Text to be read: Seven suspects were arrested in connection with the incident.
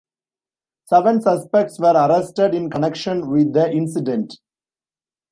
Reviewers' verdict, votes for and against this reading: accepted, 2, 0